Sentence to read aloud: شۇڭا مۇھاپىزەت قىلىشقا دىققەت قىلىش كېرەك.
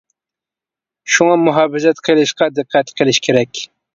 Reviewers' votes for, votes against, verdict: 2, 0, accepted